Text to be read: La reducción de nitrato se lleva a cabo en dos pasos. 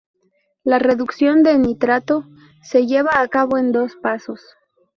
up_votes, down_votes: 2, 0